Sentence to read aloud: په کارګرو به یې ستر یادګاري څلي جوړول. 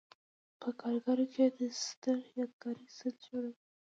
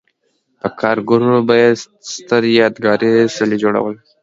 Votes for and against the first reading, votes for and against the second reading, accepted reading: 1, 2, 2, 0, second